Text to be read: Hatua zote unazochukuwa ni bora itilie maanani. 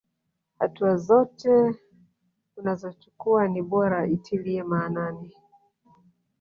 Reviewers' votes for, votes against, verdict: 1, 2, rejected